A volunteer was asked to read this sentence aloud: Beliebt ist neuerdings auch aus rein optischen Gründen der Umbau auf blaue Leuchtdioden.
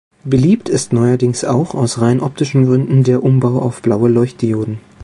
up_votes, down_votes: 2, 0